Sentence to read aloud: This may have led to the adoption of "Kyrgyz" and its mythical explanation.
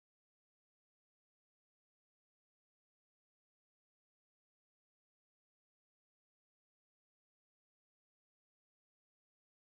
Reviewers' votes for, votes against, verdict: 0, 2, rejected